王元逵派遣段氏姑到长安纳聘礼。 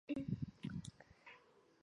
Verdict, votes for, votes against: rejected, 1, 3